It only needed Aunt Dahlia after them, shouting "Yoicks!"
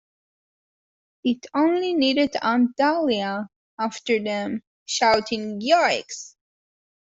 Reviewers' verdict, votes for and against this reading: accepted, 2, 0